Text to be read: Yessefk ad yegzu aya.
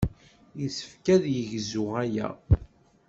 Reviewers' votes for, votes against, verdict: 2, 0, accepted